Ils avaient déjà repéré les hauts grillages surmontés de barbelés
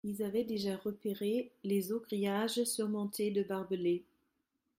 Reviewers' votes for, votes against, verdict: 0, 2, rejected